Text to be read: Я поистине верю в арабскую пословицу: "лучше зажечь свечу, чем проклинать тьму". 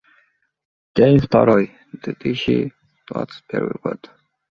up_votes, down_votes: 0, 2